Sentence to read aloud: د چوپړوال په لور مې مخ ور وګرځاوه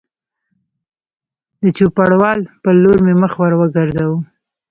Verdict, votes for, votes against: rejected, 0, 2